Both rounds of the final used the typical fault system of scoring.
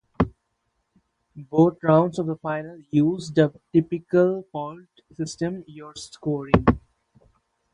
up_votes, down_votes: 0, 2